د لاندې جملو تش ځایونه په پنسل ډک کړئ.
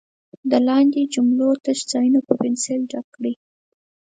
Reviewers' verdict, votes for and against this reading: accepted, 4, 0